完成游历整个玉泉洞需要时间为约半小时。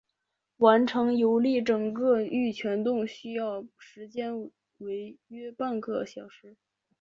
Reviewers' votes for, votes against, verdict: 0, 3, rejected